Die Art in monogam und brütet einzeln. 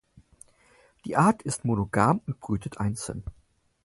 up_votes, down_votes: 4, 0